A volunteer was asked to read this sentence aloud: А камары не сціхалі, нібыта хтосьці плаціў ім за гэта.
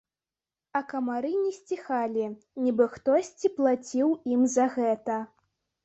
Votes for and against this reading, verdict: 2, 4, rejected